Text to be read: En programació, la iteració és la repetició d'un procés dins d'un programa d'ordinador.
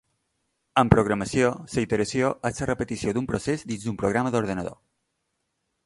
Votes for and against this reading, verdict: 1, 2, rejected